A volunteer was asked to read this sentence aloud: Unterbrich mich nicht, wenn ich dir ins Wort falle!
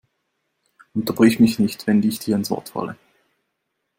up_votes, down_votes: 2, 0